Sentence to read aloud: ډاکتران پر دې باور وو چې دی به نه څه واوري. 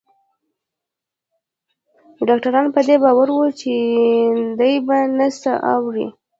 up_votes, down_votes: 0, 2